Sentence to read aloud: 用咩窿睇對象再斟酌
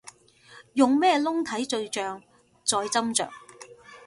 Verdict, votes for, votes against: accepted, 2, 0